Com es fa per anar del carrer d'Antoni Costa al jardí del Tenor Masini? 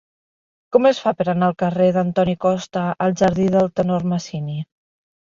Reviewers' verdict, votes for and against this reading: rejected, 0, 2